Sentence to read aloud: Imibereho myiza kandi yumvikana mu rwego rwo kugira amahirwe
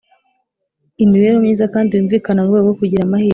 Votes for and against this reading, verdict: 2, 0, accepted